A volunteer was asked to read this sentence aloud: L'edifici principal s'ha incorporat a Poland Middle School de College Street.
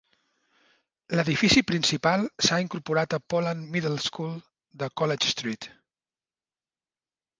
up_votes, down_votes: 4, 0